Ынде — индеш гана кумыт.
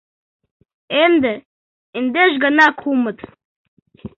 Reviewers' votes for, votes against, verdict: 1, 2, rejected